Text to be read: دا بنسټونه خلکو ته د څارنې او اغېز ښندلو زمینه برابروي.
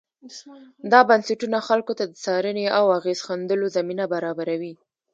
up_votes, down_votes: 1, 2